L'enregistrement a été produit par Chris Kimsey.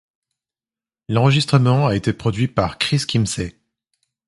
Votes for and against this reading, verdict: 2, 0, accepted